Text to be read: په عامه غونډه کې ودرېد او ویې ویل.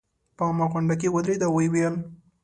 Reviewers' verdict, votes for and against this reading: accepted, 2, 0